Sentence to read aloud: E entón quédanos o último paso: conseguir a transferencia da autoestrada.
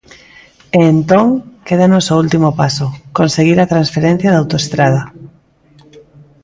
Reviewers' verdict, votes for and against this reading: rejected, 0, 2